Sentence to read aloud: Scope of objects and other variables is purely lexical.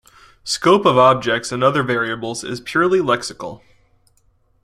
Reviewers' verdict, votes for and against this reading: accepted, 2, 0